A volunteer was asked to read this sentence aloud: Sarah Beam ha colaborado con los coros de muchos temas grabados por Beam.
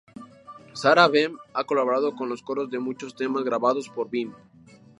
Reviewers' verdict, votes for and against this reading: rejected, 2, 2